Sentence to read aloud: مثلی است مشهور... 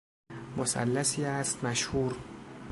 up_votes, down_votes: 1, 2